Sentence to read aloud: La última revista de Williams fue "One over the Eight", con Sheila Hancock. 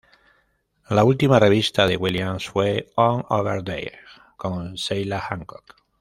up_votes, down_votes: 1, 2